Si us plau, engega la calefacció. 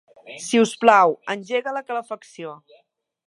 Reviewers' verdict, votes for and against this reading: accepted, 2, 0